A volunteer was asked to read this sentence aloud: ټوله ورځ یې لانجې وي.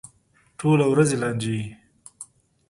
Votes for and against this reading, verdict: 2, 0, accepted